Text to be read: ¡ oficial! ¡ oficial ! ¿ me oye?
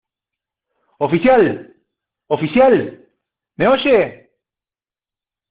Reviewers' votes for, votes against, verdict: 2, 0, accepted